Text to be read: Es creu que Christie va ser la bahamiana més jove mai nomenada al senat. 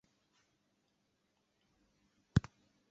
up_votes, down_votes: 0, 2